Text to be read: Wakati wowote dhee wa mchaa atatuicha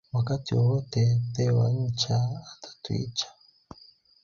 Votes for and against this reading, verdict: 3, 0, accepted